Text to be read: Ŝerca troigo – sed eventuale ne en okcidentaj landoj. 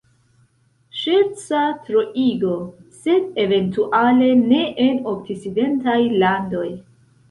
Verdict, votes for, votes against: accepted, 2, 0